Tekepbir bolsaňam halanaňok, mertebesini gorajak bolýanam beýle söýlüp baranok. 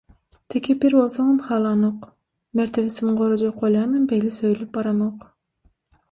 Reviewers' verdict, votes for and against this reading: rejected, 3, 6